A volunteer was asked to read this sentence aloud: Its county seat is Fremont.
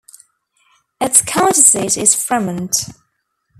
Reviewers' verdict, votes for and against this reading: rejected, 1, 2